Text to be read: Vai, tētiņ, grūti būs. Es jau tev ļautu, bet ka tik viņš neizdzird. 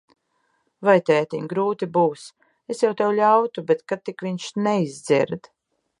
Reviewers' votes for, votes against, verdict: 2, 0, accepted